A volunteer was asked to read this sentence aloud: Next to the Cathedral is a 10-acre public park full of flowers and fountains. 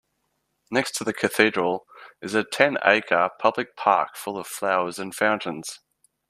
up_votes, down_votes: 0, 2